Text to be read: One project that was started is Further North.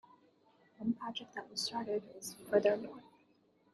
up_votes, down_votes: 0, 2